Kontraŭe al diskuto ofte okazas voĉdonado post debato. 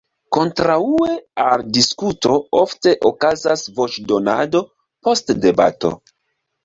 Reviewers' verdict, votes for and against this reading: accepted, 2, 0